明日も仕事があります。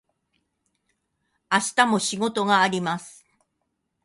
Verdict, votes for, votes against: accepted, 6, 1